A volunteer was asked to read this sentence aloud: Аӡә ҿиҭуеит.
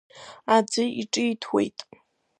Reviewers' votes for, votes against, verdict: 1, 2, rejected